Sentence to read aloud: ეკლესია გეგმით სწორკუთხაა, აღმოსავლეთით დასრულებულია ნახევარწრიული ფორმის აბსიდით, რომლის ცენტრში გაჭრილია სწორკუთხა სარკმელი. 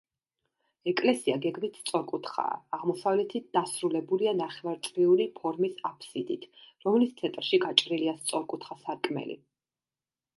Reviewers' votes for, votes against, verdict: 2, 0, accepted